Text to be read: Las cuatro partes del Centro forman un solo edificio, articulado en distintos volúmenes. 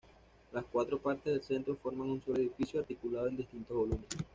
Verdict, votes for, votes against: accepted, 2, 0